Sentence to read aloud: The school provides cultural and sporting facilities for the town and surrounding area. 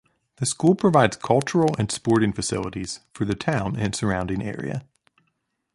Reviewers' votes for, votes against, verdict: 2, 0, accepted